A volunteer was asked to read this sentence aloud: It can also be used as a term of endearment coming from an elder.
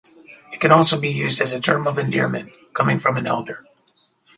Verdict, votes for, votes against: accepted, 2, 0